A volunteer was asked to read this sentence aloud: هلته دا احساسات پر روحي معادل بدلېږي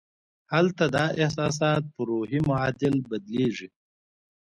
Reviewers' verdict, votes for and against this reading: accepted, 2, 0